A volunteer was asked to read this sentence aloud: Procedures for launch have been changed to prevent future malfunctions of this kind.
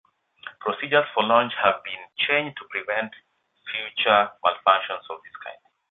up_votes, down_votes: 2, 0